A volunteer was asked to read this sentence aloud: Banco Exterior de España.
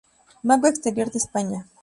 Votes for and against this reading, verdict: 2, 0, accepted